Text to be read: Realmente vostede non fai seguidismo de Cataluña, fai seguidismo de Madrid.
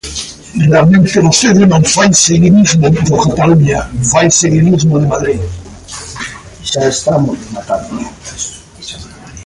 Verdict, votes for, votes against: rejected, 0, 2